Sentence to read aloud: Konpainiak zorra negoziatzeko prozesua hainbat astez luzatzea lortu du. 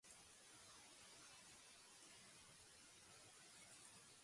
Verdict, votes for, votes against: rejected, 0, 2